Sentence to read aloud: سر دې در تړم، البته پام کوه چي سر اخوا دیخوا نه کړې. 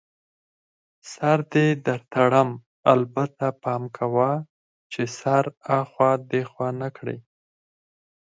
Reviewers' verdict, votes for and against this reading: accepted, 4, 2